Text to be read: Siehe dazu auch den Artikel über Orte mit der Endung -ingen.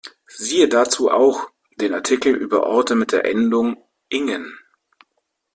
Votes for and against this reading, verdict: 2, 0, accepted